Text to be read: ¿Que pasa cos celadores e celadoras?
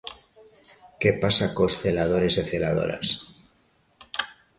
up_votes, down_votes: 2, 0